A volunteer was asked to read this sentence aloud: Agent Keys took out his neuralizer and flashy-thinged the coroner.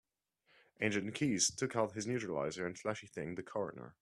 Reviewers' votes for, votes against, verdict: 2, 1, accepted